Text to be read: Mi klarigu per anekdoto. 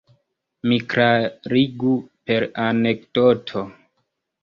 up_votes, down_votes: 1, 2